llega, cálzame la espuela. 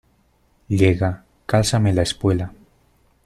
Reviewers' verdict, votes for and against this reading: accepted, 2, 0